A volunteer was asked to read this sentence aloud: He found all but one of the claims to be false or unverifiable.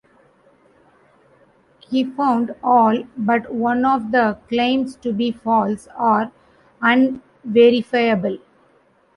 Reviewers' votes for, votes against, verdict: 0, 2, rejected